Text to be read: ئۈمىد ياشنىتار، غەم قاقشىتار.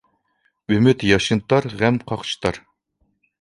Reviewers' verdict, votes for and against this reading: accepted, 2, 0